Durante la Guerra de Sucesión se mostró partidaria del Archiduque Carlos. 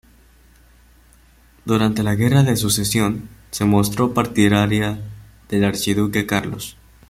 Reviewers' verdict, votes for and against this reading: rejected, 0, 2